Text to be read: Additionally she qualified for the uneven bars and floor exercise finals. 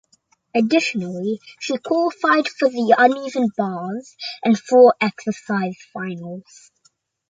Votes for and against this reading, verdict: 2, 0, accepted